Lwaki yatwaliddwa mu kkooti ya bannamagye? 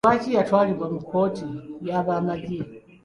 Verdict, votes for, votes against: rejected, 0, 2